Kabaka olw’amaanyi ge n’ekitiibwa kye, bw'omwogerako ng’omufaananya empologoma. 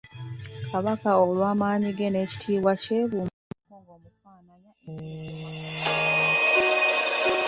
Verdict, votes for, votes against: rejected, 1, 2